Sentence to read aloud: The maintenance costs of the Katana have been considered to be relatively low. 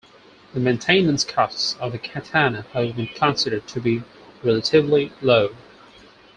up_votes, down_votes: 4, 0